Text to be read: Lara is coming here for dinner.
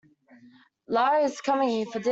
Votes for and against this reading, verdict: 0, 2, rejected